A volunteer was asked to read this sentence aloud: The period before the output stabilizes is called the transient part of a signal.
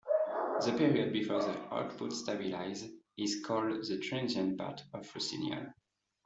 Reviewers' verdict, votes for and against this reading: rejected, 1, 2